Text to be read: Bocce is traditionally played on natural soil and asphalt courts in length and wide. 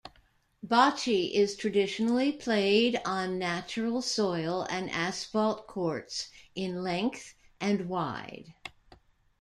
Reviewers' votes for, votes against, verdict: 0, 2, rejected